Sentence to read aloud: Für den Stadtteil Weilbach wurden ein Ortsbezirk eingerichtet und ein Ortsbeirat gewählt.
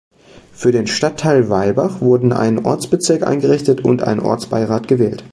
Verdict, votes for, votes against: accepted, 2, 0